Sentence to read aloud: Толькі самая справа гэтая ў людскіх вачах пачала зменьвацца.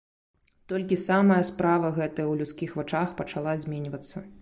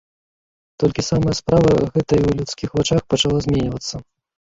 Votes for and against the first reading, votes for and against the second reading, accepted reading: 2, 0, 1, 3, first